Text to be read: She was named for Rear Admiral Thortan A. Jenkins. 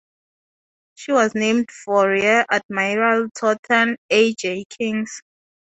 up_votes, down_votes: 0, 2